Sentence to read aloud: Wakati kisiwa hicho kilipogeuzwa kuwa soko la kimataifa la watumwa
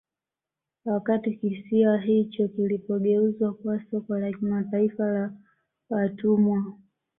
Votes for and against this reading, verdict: 2, 1, accepted